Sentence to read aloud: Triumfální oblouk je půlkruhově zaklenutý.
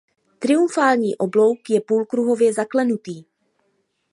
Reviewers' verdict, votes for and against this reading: accepted, 2, 0